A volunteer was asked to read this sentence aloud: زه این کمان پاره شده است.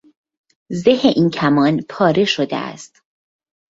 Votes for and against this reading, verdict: 2, 0, accepted